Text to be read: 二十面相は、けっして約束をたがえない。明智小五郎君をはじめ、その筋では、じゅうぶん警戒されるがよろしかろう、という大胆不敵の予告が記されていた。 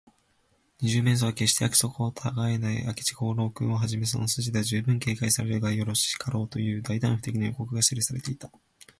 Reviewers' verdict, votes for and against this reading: rejected, 0, 2